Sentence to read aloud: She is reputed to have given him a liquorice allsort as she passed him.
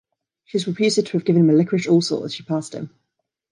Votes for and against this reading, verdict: 2, 1, accepted